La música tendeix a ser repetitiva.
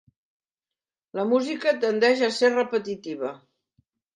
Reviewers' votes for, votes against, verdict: 3, 0, accepted